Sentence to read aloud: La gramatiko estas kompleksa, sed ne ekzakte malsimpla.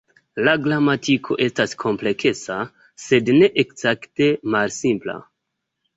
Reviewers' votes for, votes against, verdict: 0, 2, rejected